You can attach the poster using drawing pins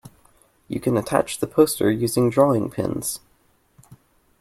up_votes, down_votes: 2, 0